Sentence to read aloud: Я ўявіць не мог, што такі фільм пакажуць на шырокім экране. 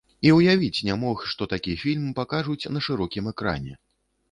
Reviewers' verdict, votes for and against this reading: rejected, 0, 2